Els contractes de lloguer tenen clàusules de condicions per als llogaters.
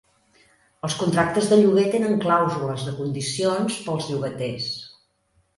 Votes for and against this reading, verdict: 1, 2, rejected